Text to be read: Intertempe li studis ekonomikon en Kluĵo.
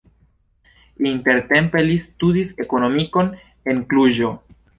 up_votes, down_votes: 2, 0